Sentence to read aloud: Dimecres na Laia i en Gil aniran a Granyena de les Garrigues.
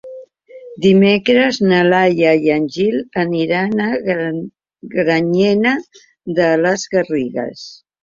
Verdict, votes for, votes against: rejected, 0, 2